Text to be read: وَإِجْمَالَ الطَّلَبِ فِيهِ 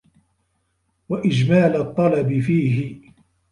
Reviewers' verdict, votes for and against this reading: accepted, 2, 1